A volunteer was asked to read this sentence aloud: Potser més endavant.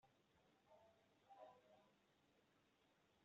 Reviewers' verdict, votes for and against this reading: rejected, 0, 2